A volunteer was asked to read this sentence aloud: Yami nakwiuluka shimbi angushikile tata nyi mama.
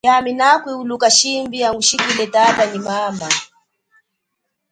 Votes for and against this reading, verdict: 2, 3, rejected